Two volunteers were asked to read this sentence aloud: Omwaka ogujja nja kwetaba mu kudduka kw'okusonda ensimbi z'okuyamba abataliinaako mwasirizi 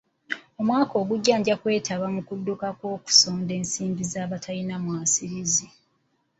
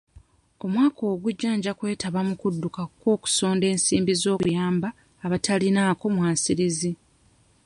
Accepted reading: second